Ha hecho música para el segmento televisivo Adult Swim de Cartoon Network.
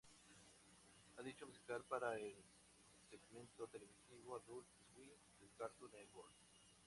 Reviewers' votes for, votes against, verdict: 0, 4, rejected